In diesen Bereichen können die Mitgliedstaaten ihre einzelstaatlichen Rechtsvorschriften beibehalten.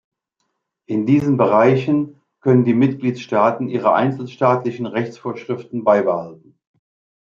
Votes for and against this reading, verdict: 0, 2, rejected